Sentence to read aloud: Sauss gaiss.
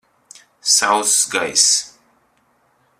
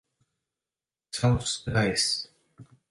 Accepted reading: first